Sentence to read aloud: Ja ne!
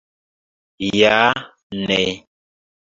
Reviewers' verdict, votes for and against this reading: rejected, 1, 2